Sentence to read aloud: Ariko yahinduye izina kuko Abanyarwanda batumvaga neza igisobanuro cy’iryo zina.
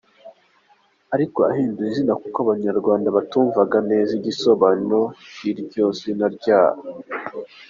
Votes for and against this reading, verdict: 1, 2, rejected